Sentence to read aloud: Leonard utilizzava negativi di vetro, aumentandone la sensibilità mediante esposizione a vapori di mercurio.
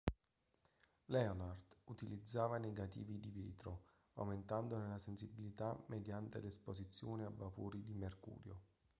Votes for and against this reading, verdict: 0, 2, rejected